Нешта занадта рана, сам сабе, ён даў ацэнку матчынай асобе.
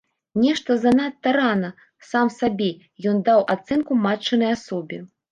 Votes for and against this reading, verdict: 2, 0, accepted